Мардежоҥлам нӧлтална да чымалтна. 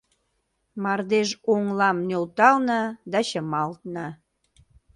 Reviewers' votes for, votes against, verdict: 2, 0, accepted